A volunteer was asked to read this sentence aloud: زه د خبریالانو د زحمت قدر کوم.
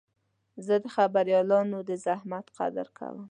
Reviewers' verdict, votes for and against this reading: accepted, 2, 0